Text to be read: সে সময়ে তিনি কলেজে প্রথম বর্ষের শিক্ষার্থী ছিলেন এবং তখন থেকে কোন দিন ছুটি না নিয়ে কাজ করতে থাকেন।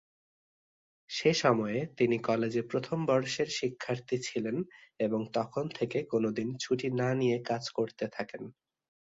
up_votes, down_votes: 3, 0